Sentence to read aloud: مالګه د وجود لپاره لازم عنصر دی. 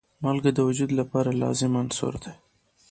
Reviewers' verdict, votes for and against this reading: accepted, 3, 0